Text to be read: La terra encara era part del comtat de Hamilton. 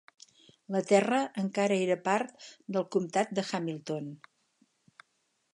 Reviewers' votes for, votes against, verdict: 6, 0, accepted